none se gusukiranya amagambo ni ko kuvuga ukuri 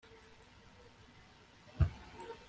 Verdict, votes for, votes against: rejected, 0, 2